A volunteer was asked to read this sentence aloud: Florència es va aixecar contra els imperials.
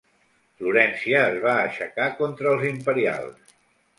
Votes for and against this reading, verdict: 2, 0, accepted